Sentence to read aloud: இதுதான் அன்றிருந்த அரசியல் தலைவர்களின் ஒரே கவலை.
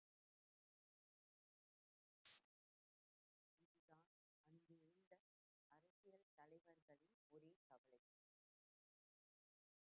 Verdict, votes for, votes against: rejected, 0, 2